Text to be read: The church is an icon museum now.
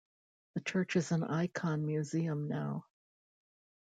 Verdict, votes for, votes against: accepted, 2, 0